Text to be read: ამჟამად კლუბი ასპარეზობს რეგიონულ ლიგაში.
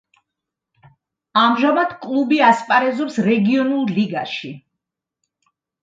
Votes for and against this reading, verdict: 2, 0, accepted